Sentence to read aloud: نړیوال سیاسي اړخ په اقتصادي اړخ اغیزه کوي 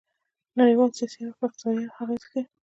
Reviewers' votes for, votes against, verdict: 2, 0, accepted